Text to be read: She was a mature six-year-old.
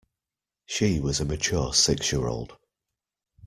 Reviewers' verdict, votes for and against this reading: accepted, 2, 0